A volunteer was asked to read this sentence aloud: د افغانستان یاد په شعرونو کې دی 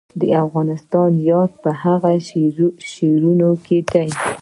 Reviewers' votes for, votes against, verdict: 2, 1, accepted